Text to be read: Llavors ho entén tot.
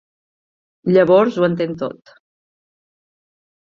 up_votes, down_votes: 5, 0